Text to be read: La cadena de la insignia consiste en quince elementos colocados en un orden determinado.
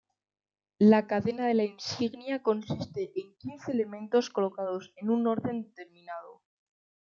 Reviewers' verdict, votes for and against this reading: rejected, 0, 2